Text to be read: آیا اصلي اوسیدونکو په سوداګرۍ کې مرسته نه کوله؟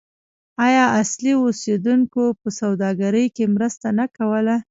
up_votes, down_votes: 1, 2